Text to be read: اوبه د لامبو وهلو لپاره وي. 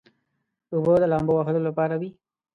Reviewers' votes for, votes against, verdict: 2, 0, accepted